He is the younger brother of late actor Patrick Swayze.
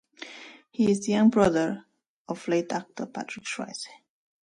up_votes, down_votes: 0, 2